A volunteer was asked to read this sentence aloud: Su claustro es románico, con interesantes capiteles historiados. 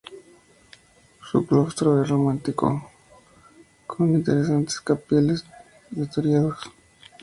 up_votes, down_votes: 0, 4